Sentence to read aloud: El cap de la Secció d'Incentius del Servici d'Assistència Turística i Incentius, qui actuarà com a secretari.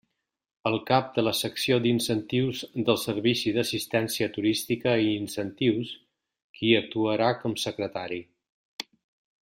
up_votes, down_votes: 0, 2